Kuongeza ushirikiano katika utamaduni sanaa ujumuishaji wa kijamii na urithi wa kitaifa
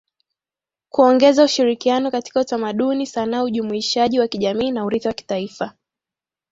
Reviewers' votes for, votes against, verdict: 3, 1, accepted